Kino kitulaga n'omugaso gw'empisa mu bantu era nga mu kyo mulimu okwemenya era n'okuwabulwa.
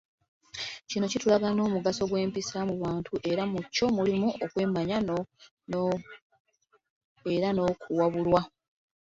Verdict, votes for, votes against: rejected, 1, 2